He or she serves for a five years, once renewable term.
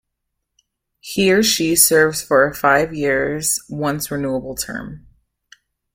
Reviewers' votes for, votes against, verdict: 2, 0, accepted